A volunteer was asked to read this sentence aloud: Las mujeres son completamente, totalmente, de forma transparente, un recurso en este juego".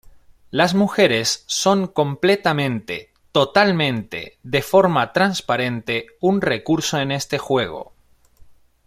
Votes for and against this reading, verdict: 2, 1, accepted